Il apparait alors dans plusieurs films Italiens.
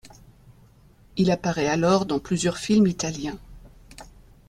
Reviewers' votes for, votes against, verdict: 2, 0, accepted